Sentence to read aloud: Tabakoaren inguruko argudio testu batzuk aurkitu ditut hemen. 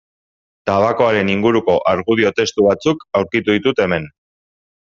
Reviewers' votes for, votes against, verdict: 2, 0, accepted